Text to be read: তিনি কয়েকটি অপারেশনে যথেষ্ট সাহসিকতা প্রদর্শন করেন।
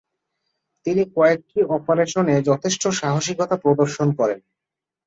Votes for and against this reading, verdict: 3, 0, accepted